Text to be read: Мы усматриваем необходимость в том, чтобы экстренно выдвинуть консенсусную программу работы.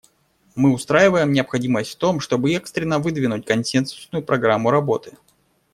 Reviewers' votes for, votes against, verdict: 1, 2, rejected